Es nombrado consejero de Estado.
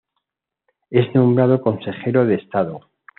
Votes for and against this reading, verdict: 2, 0, accepted